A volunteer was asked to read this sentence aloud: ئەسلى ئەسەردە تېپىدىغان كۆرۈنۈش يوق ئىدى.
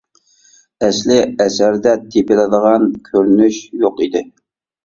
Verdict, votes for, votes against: rejected, 1, 2